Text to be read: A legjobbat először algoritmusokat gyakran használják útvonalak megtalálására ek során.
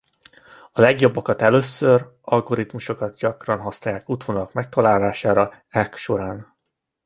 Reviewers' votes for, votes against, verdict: 0, 2, rejected